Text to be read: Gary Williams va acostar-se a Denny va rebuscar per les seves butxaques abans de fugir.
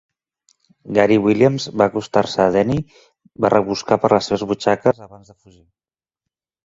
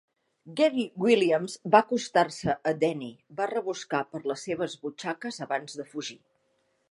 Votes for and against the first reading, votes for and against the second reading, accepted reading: 2, 3, 3, 1, second